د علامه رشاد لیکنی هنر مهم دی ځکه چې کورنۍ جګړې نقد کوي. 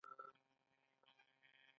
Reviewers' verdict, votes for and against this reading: accepted, 2, 1